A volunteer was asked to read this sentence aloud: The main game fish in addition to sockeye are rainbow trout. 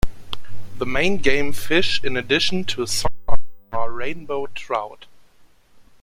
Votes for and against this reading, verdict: 0, 2, rejected